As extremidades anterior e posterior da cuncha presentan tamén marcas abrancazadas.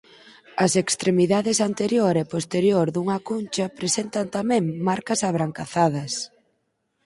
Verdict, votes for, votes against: rejected, 0, 4